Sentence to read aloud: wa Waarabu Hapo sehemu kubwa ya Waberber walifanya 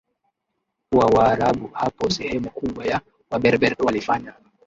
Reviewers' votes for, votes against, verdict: 2, 1, accepted